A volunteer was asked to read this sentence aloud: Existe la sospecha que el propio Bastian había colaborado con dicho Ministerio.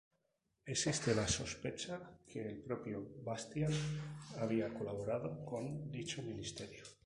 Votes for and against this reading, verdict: 2, 0, accepted